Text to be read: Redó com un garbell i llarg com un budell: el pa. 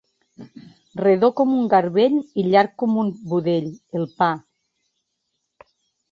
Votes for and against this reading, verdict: 4, 0, accepted